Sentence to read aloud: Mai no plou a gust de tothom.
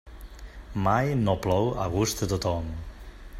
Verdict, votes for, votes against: accepted, 3, 0